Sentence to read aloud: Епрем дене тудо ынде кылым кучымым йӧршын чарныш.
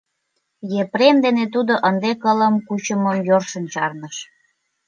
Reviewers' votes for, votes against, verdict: 2, 0, accepted